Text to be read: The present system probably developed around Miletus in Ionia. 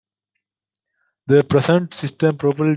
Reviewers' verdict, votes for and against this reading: rejected, 0, 2